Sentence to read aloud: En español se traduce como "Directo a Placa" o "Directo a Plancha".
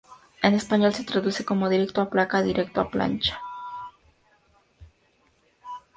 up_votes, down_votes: 0, 2